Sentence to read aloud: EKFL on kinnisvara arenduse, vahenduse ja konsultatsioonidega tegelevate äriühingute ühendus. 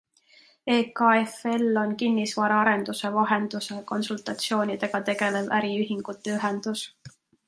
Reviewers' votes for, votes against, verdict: 1, 2, rejected